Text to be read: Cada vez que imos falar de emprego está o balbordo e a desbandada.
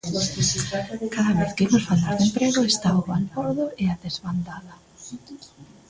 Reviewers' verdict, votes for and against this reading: accepted, 2, 1